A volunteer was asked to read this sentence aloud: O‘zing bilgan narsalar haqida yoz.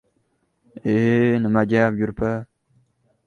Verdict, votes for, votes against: rejected, 0, 2